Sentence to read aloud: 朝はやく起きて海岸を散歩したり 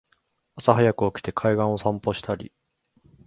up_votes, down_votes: 2, 0